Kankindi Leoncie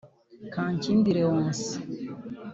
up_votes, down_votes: 2, 0